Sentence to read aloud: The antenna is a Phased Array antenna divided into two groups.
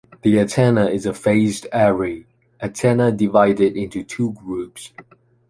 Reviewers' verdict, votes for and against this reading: accepted, 2, 0